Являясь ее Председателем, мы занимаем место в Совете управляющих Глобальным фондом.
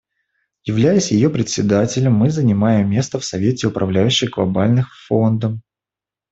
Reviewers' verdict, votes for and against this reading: rejected, 1, 2